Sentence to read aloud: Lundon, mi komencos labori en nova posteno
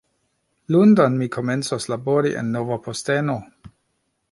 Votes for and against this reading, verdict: 2, 1, accepted